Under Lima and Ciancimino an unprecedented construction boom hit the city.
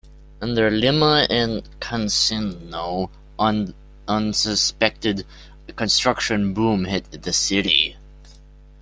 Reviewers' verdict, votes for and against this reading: rejected, 0, 2